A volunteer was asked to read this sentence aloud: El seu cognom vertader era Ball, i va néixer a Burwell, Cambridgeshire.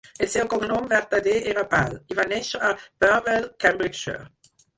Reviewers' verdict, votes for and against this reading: rejected, 0, 4